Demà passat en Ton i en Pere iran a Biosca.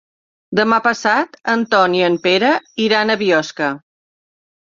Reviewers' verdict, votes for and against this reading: accepted, 3, 0